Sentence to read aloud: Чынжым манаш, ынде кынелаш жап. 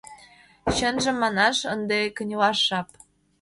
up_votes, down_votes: 2, 0